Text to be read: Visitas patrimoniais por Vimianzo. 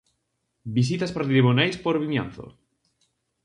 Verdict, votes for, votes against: rejected, 0, 4